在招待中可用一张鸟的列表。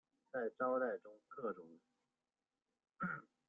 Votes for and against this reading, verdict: 0, 2, rejected